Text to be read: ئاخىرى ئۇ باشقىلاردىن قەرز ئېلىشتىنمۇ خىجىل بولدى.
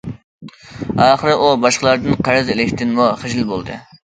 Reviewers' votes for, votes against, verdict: 2, 0, accepted